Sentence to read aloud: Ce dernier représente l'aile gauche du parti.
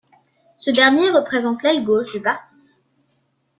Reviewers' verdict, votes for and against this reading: accepted, 2, 0